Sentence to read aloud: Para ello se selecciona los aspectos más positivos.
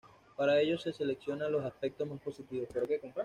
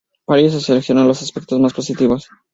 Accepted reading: second